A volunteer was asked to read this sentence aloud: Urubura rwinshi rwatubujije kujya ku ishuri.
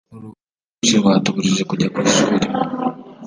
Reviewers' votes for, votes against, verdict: 0, 2, rejected